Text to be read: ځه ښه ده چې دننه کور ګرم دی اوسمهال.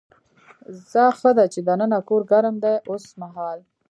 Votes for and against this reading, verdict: 0, 2, rejected